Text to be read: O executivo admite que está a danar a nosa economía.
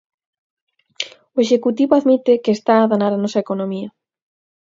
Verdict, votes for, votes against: accepted, 4, 0